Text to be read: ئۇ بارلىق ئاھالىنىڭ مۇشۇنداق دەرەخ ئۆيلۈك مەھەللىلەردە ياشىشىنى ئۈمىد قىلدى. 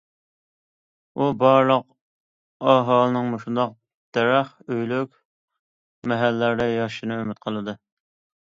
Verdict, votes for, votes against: accepted, 2, 0